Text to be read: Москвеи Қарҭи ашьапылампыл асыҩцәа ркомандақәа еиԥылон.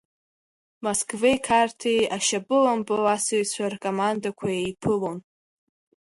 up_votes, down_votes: 3, 1